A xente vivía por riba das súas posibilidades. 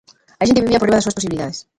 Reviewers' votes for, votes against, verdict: 0, 2, rejected